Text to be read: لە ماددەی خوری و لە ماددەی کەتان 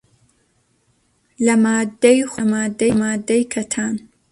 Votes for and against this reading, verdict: 0, 2, rejected